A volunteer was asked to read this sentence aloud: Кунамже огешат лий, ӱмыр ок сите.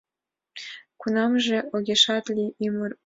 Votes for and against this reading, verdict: 1, 2, rejected